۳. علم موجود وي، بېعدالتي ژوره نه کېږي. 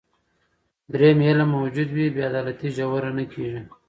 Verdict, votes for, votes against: rejected, 0, 2